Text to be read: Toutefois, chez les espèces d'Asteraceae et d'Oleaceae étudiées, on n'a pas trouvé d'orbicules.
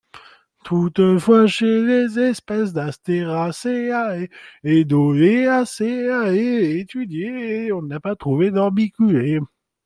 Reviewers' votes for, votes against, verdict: 0, 2, rejected